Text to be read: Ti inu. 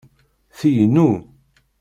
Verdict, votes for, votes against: accepted, 2, 0